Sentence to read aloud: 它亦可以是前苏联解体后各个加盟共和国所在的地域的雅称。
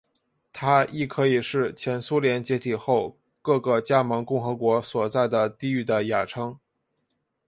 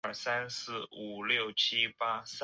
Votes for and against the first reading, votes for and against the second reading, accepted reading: 2, 0, 0, 4, first